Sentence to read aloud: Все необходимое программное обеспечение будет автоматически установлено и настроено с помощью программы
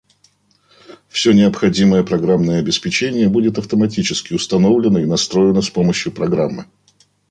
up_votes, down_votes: 3, 0